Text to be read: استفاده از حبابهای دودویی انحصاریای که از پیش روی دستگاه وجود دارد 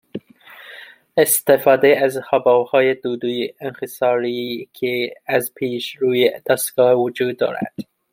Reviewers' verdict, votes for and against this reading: accepted, 2, 1